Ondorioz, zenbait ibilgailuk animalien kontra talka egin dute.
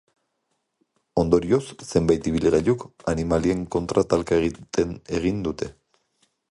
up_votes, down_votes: 0, 2